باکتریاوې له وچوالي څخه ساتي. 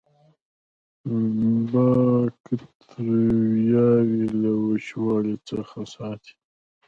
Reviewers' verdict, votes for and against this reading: rejected, 1, 2